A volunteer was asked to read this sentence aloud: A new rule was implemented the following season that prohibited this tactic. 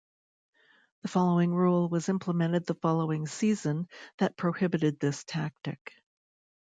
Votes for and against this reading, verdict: 0, 2, rejected